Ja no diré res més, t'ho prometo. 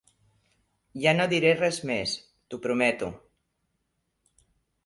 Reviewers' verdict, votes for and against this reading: accepted, 3, 0